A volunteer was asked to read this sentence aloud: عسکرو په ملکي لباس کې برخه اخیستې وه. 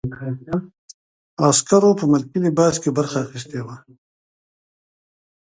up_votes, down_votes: 2, 0